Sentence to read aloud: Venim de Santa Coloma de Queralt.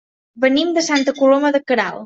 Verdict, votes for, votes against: accepted, 3, 0